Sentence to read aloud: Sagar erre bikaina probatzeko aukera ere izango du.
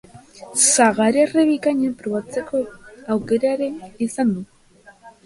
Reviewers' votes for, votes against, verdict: 0, 3, rejected